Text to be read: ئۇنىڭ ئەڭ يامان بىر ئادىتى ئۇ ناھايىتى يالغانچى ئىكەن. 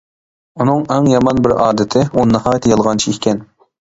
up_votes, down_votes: 2, 0